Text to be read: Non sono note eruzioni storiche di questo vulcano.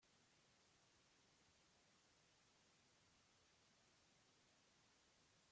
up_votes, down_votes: 0, 3